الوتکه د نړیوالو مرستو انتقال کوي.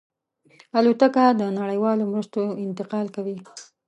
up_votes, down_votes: 2, 0